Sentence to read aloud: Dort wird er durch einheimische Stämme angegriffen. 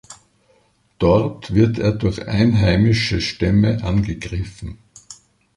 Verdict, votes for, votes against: accepted, 2, 0